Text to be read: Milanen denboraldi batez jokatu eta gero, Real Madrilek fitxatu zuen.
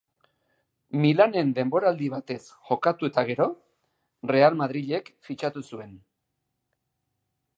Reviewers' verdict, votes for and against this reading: accepted, 2, 0